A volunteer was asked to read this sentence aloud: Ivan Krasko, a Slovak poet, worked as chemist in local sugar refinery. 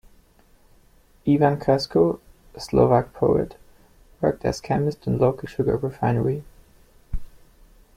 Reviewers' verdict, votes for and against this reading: accepted, 2, 1